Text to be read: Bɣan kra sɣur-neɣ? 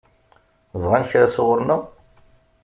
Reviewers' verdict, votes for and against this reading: accepted, 2, 0